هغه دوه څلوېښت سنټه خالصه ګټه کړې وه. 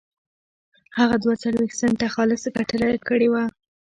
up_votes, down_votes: 1, 2